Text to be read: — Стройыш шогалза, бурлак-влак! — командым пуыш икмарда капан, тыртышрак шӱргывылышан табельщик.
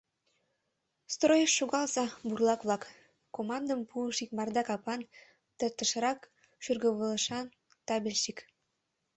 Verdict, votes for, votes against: rejected, 1, 2